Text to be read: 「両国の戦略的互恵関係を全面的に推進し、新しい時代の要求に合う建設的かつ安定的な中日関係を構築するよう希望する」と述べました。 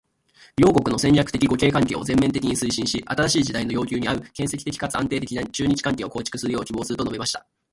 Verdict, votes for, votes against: accepted, 3, 1